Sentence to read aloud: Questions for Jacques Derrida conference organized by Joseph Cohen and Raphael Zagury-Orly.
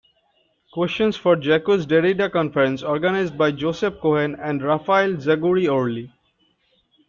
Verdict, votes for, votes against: rejected, 1, 2